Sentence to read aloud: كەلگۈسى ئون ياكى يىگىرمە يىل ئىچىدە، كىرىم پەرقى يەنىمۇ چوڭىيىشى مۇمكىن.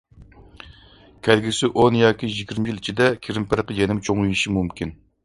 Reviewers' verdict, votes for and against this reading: accepted, 2, 0